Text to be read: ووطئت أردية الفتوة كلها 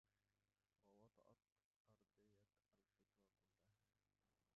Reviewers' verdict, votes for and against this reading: rejected, 0, 2